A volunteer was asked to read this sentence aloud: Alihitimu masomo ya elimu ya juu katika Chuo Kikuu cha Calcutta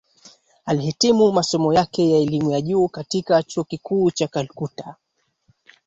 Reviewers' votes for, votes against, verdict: 1, 2, rejected